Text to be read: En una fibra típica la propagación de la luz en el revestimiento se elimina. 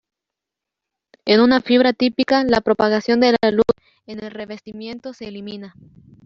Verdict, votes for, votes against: rejected, 1, 2